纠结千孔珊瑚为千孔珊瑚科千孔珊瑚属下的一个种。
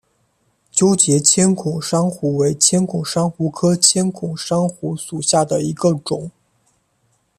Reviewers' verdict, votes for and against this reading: accepted, 2, 0